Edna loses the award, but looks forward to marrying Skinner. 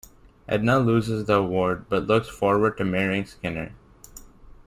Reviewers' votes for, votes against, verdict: 2, 0, accepted